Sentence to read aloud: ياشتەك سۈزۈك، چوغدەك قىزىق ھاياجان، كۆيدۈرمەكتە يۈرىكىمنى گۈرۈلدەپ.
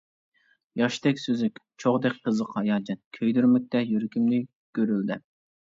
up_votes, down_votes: 2, 0